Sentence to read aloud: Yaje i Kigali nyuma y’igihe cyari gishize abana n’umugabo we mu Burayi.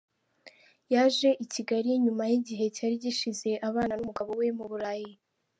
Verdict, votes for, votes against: accepted, 2, 0